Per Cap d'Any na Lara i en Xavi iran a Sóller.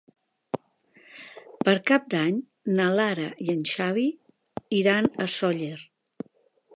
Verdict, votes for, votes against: accepted, 4, 0